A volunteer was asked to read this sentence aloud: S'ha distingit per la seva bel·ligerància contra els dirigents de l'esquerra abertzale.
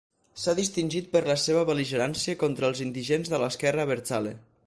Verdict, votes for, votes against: rejected, 0, 4